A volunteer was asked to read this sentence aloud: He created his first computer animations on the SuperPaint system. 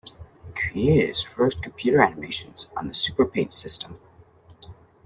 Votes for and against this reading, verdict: 0, 2, rejected